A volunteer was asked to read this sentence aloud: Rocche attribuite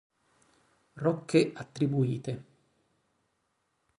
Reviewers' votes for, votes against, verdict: 2, 0, accepted